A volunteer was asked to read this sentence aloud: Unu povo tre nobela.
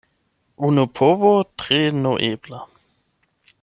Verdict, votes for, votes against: rejected, 0, 8